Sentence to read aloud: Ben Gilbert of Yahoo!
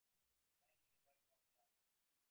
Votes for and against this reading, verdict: 0, 2, rejected